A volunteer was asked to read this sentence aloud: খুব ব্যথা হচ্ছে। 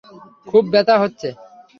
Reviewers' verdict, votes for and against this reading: accepted, 3, 0